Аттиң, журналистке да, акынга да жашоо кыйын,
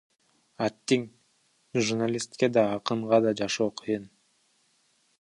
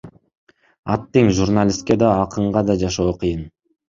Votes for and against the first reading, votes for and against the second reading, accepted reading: 1, 2, 2, 0, second